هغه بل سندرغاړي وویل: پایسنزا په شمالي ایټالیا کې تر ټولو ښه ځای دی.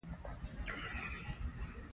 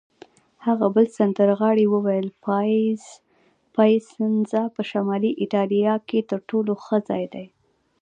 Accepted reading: first